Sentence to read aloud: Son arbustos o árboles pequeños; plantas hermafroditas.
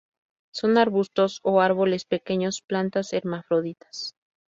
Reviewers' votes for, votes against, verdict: 2, 0, accepted